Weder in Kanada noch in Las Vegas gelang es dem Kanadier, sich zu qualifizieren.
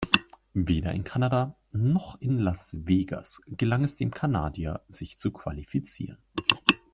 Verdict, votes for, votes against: accepted, 2, 0